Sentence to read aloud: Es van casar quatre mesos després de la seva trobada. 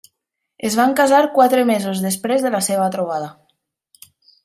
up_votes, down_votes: 3, 0